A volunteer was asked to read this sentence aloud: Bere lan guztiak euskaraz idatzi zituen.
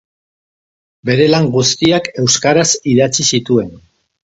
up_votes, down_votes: 2, 0